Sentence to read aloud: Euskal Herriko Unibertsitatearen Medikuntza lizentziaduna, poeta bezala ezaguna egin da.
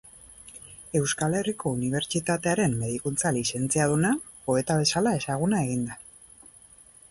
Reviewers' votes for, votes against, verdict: 2, 0, accepted